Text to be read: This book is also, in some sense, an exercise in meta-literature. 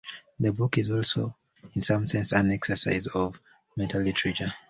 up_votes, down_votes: 1, 2